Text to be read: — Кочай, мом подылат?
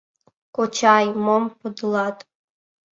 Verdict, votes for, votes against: accepted, 2, 0